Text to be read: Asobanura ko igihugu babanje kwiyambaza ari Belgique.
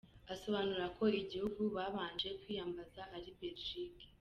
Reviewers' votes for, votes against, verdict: 2, 0, accepted